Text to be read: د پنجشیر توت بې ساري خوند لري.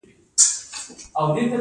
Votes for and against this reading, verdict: 2, 1, accepted